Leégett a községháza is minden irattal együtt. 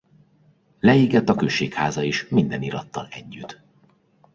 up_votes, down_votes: 2, 1